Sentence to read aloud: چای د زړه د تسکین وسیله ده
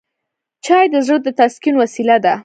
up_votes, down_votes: 1, 2